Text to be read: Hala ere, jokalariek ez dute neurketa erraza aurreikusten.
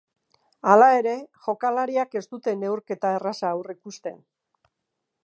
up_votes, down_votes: 1, 2